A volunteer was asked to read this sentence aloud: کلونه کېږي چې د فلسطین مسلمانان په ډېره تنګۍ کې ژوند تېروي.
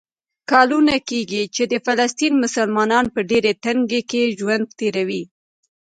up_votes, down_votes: 1, 2